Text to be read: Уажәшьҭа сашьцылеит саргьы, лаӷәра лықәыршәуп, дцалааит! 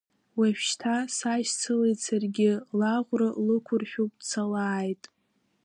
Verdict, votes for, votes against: rejected, 1, 2